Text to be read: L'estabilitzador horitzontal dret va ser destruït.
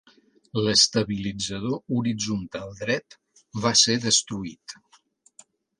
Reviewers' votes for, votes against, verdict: 2, 0, accepted